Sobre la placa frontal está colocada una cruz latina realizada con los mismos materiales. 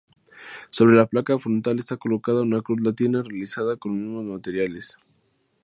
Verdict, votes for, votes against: accepted, 2, 0